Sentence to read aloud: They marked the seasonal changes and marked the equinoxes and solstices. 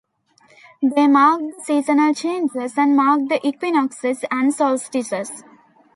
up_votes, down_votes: 0, 2